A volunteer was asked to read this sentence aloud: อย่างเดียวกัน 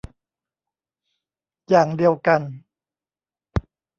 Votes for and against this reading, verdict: 0, 2, rejected